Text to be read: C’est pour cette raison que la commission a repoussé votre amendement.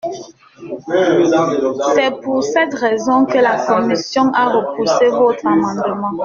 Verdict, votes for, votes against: rejected, 0, 2